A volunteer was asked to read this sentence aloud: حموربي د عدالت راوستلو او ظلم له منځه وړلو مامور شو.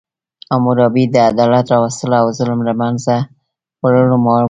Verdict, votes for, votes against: rejected, 1, 2